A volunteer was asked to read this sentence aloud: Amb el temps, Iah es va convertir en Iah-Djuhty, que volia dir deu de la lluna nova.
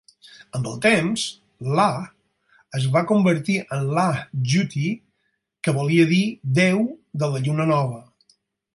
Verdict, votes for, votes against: rejected, 0, 4